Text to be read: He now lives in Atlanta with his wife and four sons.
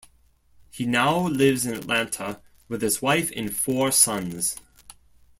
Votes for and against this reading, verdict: 2, 0, accepted